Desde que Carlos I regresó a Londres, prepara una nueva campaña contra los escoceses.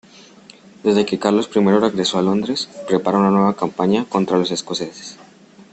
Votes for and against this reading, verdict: 2, 0, accepted